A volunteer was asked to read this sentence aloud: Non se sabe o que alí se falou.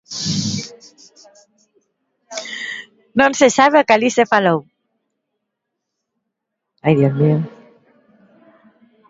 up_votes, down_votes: 0, 2